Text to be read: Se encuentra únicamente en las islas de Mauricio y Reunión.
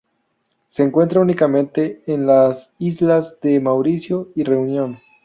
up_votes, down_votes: 2, 0